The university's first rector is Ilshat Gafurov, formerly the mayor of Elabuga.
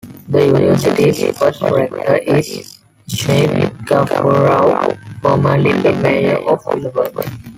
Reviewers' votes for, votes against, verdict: 0, 2, rejected